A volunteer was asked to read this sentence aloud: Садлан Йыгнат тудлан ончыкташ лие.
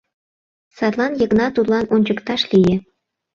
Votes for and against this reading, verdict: 2, 0, accepted